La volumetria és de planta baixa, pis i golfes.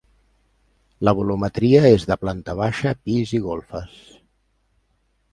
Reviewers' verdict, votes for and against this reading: accepted, 2, 0